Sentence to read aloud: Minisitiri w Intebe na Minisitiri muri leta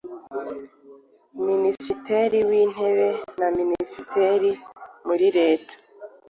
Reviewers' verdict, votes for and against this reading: rejected, 0, 2